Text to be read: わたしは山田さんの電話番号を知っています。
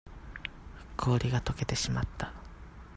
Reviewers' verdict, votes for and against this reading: rejected, 0, 2